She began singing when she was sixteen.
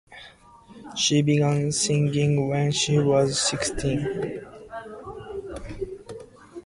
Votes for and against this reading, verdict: 2, 0, accepted